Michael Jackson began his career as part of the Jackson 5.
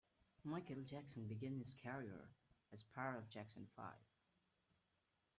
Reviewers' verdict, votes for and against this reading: rejected, 0, 2